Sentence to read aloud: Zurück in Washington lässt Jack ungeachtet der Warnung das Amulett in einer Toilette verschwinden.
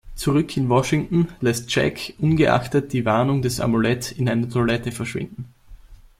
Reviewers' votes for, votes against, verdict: 1, 2, rejected